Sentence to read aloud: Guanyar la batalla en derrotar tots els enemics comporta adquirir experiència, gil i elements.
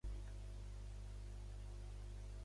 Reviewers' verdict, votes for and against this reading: rejected, 0, 2